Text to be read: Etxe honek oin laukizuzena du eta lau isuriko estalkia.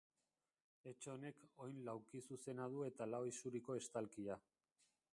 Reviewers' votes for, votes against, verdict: 1, 2, rejected